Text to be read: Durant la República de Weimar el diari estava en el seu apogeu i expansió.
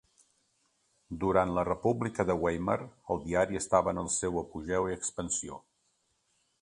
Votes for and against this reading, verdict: 2, 0, accepted